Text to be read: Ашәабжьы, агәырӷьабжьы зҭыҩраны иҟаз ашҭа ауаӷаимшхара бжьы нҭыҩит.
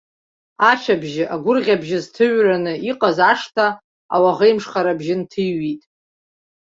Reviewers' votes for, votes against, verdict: 3, 1, accepted